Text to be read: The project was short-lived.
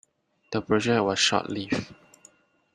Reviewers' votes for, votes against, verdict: 1, 2, rejected